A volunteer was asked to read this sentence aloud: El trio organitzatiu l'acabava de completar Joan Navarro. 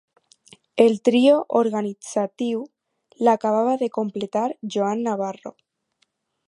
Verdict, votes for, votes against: accepted, 4, 0